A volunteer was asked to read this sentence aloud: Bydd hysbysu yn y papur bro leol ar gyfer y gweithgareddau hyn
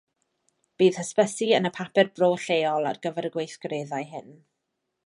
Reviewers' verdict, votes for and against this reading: rejected, 1, 2